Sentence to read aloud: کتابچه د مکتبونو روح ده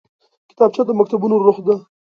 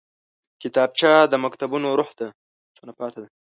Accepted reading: first